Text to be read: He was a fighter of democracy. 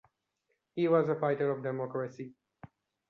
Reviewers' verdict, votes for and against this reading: accepted, 2, 0